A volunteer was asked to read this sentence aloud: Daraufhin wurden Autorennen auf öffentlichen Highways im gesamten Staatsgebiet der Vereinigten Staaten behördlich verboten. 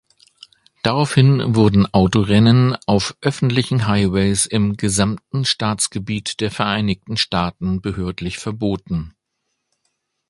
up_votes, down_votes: 2, 0